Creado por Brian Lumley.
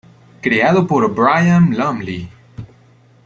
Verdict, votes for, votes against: accepted, 2, 0